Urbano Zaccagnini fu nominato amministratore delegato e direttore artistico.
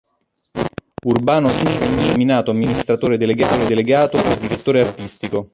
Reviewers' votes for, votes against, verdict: 0, 2, rejected